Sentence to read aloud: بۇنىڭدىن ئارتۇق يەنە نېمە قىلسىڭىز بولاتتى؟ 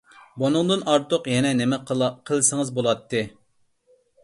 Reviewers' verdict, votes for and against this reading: rejected, 0, 2